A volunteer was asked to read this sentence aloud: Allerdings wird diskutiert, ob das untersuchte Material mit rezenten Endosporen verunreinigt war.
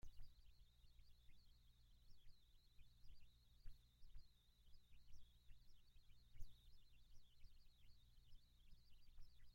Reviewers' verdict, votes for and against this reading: rejected, 0, 2